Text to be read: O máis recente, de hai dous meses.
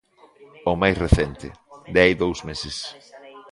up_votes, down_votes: 2, 0